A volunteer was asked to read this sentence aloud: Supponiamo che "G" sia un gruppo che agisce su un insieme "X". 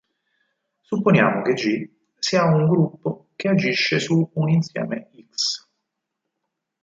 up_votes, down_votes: 2, 4